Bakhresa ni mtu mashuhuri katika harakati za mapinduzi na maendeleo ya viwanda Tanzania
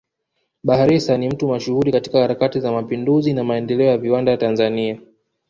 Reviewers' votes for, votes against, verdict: 1, 2, rejected